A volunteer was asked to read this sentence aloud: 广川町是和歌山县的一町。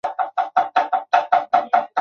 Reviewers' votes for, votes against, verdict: 0, 4, rejected